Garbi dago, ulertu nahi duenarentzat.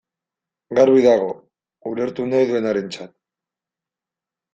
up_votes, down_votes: 0, 2